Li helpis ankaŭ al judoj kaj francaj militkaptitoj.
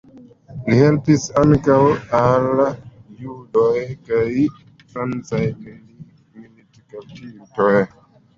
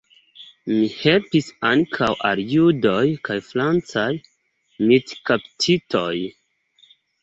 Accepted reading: second